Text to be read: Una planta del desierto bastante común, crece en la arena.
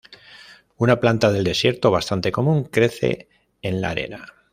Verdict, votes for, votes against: accepted, 2, 0